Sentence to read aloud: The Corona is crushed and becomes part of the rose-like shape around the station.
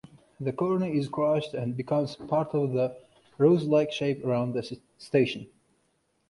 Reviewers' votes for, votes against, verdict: 2, 0, accepted